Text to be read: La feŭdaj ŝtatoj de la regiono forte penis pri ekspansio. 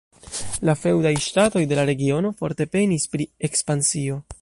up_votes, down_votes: 1, 2